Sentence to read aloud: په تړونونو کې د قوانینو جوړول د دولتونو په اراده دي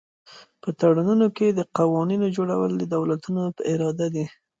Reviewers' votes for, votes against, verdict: 2, 0, accepted